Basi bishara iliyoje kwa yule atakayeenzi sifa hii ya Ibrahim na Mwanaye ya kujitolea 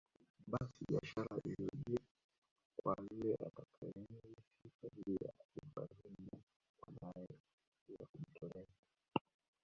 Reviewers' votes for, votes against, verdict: 0, 2, rejected